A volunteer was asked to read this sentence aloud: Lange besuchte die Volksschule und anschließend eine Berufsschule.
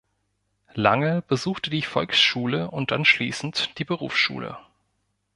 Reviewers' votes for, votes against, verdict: 1, 2, rejected